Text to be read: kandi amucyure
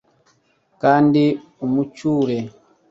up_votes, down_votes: 0, 2